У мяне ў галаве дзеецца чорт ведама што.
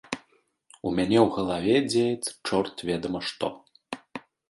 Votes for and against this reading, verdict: 2, 0, accepted